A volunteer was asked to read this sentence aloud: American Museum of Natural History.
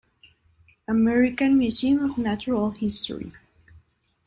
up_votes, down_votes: 1, 2